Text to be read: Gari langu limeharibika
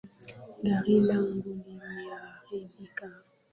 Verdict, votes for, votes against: rejected, 4, 4